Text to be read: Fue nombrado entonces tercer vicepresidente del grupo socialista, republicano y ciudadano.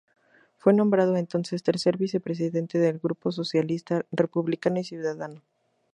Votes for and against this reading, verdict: 0, 2, rejected